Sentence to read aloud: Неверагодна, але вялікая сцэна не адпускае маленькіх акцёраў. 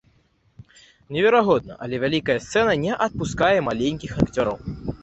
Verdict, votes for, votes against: accepted, 2, 0